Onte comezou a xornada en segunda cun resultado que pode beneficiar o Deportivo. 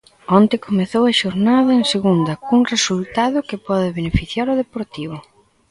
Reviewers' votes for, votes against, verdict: 2, 1, accepted